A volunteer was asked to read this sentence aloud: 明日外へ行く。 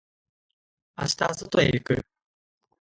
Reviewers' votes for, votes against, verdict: 0, 2, rejected